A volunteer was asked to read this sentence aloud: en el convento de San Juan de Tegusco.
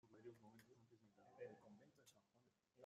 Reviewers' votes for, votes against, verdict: 0, 2, rejected